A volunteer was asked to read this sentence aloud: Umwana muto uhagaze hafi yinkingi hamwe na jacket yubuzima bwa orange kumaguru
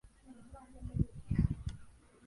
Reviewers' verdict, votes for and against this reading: rejected, 0, 2